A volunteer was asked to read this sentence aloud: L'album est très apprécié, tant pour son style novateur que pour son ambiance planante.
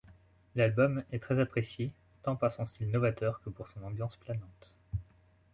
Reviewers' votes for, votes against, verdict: 2, 0, accepted